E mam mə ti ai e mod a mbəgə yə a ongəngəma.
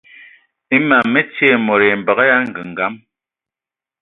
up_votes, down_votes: 0, 2